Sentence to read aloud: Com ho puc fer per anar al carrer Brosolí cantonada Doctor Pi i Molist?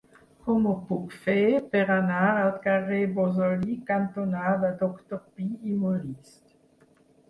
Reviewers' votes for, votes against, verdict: 0, 4, rejected